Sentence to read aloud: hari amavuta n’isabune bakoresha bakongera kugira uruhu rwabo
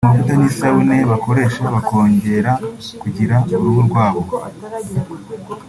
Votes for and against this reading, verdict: 1, 2, rejected